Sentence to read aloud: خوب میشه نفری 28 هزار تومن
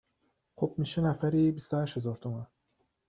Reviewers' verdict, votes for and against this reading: rejected, 0, 2